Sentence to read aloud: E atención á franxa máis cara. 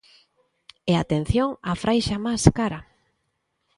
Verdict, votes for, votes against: rejected, 0, 2